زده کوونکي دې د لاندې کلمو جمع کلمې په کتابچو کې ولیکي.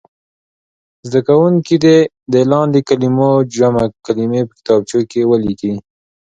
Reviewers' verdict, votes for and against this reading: accepted, 2, 0